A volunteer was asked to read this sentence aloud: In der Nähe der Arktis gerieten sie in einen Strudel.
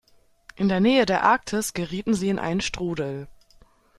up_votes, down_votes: 2, 1